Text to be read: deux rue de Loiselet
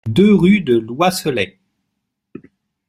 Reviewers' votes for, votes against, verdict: 1, 2, rejected